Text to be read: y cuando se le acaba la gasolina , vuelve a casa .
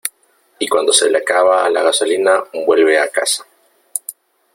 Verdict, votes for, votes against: accepted, 2, 0